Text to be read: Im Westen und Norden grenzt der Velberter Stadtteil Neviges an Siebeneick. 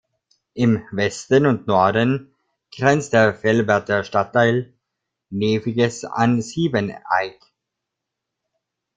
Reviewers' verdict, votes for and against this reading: accepted, 2, 1